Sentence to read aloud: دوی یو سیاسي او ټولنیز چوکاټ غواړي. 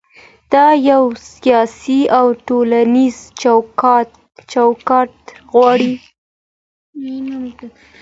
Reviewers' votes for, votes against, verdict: 2, 0, accepted